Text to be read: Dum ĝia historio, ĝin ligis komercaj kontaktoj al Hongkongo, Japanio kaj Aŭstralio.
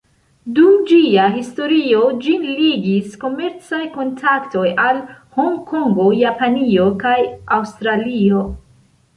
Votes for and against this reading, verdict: 2, 0, accepted